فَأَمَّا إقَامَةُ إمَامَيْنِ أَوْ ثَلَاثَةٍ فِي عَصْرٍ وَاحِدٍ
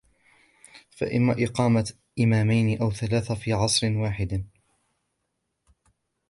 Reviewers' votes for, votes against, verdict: 1, 2, rejected